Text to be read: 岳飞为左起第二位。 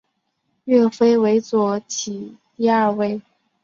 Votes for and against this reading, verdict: 7, 0, accepted